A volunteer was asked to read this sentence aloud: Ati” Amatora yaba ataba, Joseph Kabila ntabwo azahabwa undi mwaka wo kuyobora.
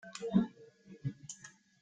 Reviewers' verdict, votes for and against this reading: rejected, 0, 2